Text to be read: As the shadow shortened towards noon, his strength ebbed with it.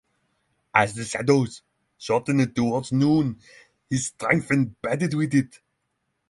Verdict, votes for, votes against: rejected, 6, 15